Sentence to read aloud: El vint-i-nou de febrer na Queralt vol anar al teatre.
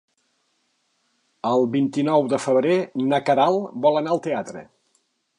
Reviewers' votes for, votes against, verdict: 2, 0, accepted